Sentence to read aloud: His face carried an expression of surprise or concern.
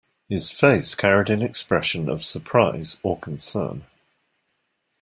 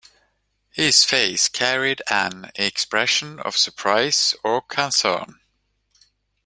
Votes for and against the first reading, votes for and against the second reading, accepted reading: 2, 0, 1, 2, first